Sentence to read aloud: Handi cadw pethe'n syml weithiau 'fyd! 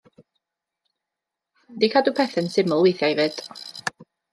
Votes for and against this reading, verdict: 1, 2, rejected